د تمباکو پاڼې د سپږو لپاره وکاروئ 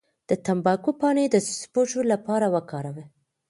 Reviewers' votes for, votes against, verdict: 2, 0, accepted